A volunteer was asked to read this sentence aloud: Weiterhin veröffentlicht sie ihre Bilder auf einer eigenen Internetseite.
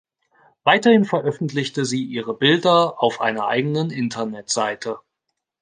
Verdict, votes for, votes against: rejected, 1, 2